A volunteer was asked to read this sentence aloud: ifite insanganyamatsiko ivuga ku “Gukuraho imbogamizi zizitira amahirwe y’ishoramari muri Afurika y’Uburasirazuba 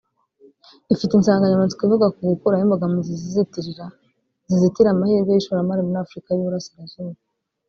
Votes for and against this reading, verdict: 0, 2, rejected